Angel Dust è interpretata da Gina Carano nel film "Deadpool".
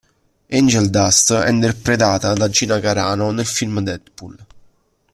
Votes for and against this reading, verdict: 1, 2, rejected